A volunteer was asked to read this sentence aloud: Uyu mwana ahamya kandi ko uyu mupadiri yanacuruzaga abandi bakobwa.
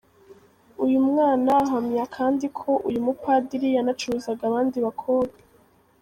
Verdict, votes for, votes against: accepted, 2, 0